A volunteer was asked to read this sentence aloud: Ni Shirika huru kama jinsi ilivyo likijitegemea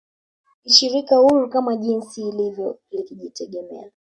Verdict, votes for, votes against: accepted, 2, 1